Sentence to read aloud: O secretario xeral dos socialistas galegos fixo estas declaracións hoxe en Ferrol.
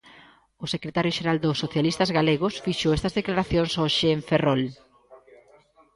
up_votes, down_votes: 2, 0